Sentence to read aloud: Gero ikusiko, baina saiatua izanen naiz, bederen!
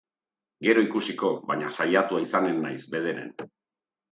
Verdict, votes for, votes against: accepted, 2, 0